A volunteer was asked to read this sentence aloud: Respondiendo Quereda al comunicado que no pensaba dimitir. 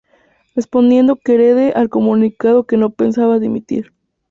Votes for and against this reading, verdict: 0, 2, rejected